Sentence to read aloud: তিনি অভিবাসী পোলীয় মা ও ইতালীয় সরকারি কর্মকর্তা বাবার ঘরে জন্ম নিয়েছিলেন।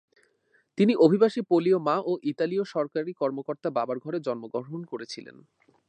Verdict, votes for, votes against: accepted, 2, 0